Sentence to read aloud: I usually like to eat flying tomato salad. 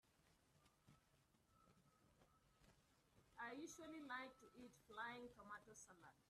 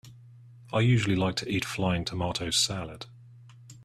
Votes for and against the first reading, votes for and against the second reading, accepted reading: 0, 2, 2, 0, second